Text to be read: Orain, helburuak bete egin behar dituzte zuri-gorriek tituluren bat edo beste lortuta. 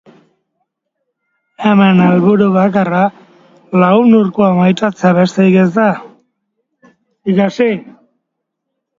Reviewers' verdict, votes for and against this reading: rejected, 0, 2